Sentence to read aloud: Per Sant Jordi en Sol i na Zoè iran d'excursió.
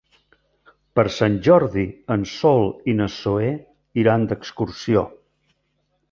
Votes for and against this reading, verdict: 0, 2, rejected